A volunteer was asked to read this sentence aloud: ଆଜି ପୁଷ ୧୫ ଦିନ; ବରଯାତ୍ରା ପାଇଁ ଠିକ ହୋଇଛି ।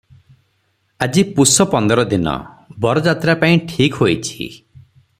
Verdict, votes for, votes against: rejected, 0, 2